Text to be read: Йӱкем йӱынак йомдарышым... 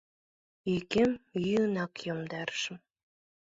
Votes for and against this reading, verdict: 2, 0, accepted